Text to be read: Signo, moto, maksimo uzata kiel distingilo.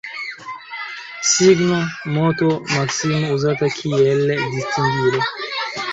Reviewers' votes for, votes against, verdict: 2, 0, accepted